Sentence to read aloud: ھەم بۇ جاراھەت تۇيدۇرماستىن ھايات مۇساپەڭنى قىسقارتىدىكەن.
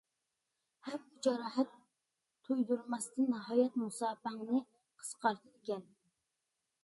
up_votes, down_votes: 0, 2